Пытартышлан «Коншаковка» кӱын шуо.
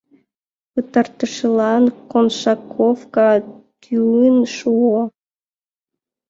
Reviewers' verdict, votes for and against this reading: rejected, 0, 2